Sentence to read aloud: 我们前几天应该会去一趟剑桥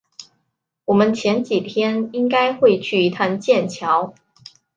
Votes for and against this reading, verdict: 2, 0, accepted